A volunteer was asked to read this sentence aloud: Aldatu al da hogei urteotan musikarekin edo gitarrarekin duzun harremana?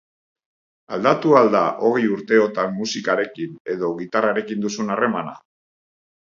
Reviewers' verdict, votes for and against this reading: accepted, 7, 0